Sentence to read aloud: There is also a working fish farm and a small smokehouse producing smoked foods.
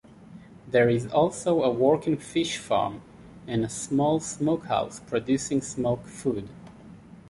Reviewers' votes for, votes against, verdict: 2, 1, accepted